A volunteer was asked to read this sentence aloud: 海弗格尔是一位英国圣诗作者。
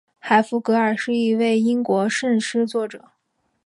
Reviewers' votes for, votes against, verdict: 4, 2, accepted